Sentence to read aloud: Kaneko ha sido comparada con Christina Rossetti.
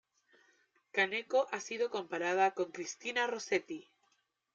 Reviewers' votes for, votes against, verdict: 2, 0, accepted